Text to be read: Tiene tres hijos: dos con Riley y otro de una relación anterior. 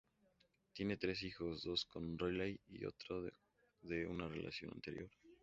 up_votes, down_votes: 0, 4